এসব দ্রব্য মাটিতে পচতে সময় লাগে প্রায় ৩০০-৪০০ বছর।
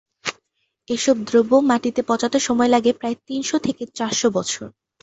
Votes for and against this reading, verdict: 0, 2, rejected